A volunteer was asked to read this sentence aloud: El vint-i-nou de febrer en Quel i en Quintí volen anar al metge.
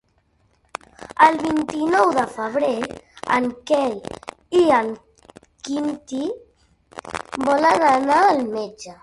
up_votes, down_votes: 3, 1